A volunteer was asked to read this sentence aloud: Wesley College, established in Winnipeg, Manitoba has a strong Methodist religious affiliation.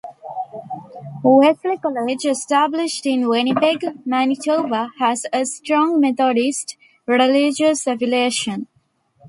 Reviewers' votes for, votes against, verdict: 1, 2, rejected